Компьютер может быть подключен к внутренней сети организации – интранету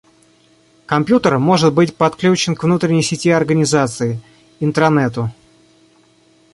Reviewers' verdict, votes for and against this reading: accepted, 2, 0